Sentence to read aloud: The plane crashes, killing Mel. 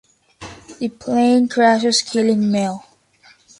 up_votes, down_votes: 2, 0